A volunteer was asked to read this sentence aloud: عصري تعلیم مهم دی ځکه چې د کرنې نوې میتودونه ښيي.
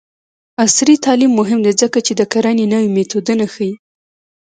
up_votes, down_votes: 1, 2